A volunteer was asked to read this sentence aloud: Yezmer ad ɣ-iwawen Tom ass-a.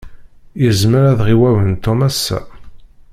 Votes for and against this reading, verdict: 0, 2, rejected